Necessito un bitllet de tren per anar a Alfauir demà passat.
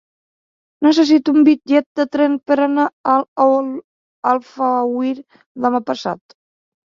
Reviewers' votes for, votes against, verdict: 0, 3, rejected